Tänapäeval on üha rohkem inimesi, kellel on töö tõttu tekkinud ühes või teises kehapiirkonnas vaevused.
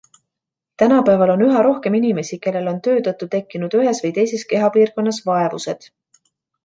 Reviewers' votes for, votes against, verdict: 2, 1, accepted